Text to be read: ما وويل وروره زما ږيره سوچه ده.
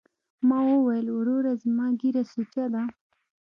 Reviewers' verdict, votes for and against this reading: accepted, 3, 0